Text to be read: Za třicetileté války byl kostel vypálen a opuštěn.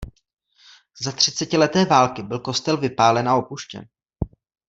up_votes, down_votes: 2, 0